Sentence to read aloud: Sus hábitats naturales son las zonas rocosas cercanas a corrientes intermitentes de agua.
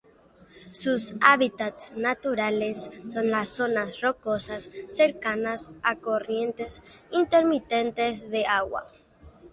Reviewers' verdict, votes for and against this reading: rejected, 0, 3